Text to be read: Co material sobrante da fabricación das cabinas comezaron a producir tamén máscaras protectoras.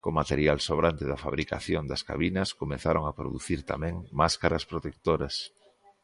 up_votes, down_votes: 2, 0